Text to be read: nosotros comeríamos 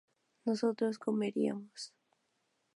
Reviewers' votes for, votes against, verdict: 4, 0, accepted